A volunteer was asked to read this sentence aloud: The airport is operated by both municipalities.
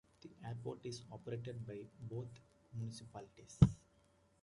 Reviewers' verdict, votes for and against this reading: accepted, 2, 0